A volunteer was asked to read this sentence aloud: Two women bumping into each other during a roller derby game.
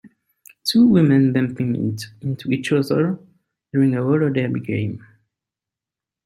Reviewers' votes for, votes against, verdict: 3, 5, rejected